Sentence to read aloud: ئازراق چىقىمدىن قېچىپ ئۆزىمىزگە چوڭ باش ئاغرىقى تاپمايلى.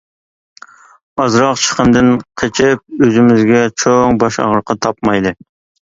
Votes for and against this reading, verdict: 2, 1, accepted